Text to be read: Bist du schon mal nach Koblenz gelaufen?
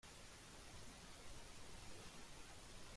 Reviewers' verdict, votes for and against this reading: rejected, 0, 2